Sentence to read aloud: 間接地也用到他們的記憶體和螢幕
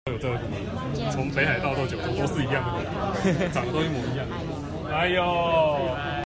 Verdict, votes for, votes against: rejected, 1, 2